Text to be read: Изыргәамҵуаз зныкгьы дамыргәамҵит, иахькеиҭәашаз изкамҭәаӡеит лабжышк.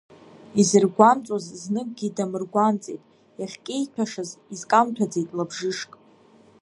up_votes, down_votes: 1, 2